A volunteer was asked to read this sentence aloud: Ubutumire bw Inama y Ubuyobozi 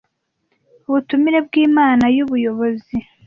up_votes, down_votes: 0, 2